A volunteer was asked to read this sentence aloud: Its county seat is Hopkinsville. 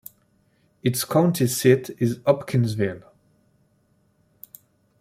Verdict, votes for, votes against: accepted, 2, 0